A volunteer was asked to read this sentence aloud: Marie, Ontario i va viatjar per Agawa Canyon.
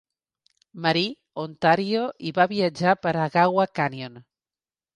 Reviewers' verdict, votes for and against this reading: accepted, 3, 0